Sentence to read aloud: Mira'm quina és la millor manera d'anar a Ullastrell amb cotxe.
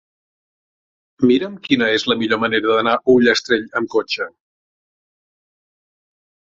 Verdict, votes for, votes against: accepted, 4, 0